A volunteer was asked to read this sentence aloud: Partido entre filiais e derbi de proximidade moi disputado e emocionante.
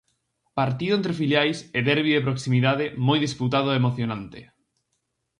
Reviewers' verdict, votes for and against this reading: accepted, 4, 0